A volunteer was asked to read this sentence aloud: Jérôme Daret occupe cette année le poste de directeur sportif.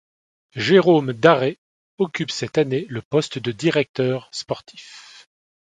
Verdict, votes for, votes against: accepted, 2, 0